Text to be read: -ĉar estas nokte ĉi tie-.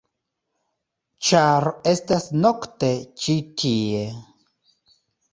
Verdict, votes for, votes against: accepted, 3, 0